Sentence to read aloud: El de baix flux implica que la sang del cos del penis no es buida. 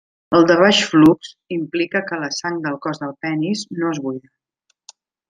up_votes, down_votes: 0, 2